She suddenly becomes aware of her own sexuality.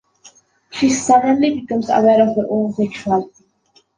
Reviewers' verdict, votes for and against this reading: rejected, 1, 2